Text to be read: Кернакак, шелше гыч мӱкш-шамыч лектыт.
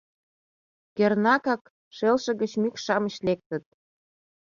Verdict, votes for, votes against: accepted, 2, 0